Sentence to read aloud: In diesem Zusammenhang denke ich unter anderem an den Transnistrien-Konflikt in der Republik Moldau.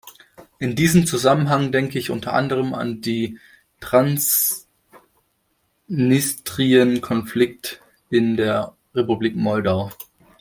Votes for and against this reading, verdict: 0, 2, rejected